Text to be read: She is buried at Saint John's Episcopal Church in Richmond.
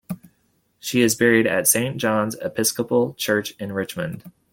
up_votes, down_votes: 2, 0